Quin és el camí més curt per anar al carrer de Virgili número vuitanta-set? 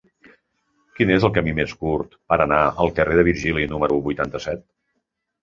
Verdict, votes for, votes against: accepted, 2, 0